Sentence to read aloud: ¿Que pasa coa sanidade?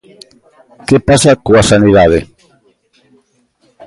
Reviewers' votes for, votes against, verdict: 1, 2, rejected